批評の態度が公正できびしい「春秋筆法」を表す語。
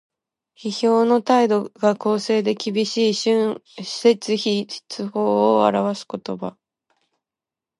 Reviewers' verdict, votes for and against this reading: accepted, 2, 1